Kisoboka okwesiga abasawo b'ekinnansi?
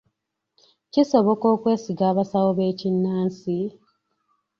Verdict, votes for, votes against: accepted, 2, 0